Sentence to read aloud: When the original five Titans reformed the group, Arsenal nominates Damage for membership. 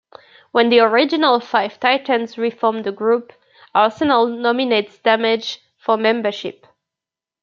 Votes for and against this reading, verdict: 2, 0, accepted